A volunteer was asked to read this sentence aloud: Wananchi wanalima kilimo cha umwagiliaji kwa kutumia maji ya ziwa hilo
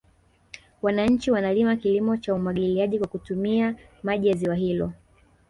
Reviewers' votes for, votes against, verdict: 2, 1, accepted